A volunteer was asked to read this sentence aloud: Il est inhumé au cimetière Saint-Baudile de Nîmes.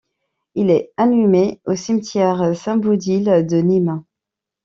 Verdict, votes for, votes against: rejected, 1, 2